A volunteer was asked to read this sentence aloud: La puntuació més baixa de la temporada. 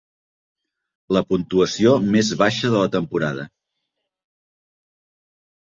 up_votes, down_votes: 3, 0